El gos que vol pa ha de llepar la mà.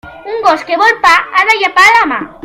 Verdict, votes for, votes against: rejected, 1, 2